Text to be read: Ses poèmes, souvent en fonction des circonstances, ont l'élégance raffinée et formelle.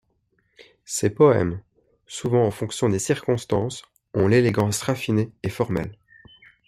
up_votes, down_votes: 2, 0